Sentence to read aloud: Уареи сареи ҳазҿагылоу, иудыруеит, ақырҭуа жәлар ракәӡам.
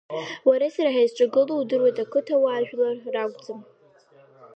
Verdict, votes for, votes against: accepted, 2, 0